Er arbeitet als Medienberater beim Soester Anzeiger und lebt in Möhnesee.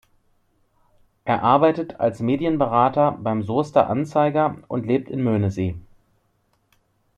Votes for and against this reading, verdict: 2, 0, accepted